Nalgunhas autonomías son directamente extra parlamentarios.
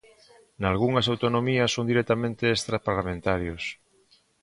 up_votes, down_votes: 1, 2